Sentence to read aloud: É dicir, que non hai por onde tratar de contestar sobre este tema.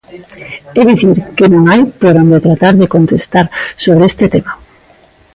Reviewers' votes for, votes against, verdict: 2, 0, accepted